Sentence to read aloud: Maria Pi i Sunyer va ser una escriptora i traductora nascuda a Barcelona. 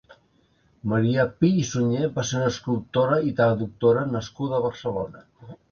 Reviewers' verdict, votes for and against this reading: rejected, 0, 2